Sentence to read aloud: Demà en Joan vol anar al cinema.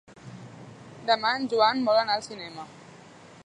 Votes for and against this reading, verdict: 3, 0, accepted